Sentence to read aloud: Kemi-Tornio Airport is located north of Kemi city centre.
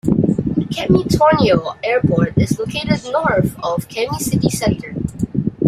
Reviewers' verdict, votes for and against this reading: accepted, 2, 0